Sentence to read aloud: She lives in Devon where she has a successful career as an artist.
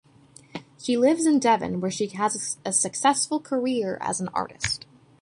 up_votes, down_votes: 2, 0